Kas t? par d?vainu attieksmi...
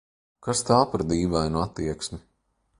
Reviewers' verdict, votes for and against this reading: rejected, 1, 2